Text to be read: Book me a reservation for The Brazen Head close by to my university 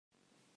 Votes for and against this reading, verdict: 0, 2, rejected